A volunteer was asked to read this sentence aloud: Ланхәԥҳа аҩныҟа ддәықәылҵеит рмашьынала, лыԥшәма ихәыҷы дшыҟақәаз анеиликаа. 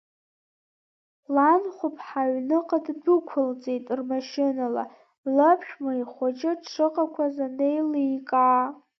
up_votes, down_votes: 1, 2